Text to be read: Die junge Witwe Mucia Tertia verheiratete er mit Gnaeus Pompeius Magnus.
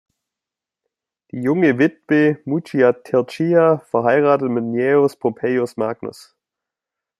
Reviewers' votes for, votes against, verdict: 1, 2, rejected